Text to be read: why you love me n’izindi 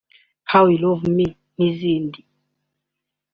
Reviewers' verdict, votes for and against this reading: accepted, 2, 0